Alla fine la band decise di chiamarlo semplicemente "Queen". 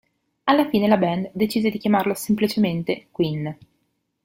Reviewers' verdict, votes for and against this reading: accepted, 2, 0